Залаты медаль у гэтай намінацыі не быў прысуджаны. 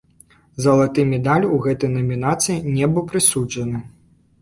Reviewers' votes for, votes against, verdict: 2, 1, accepted